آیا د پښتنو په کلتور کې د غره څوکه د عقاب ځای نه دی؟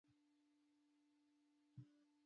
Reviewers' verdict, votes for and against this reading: rejected, 0, 2